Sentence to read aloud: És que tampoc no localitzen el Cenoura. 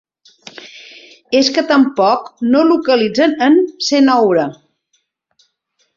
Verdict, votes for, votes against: rejected, 0, 3